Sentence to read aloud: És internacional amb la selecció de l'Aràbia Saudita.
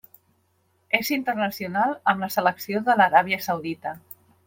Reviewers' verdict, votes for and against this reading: accepted, 3, 0